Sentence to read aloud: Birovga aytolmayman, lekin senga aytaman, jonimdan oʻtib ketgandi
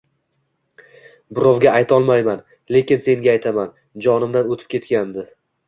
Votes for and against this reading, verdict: 2, 0, accepted